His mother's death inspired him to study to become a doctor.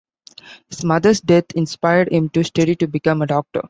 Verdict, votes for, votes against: accepted, 2, 0